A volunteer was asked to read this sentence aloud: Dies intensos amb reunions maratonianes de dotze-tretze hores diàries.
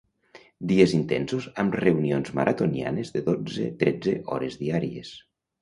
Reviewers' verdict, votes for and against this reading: accepted, 2, 0